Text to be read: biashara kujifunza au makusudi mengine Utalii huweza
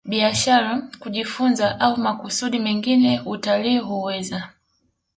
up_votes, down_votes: 2, 0